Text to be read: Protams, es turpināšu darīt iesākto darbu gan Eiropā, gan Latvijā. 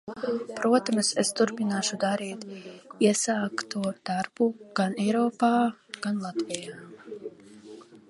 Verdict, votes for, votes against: rejected, 1, 2